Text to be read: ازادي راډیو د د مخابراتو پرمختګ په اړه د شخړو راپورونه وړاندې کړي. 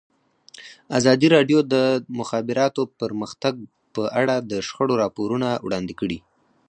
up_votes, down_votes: 4, 0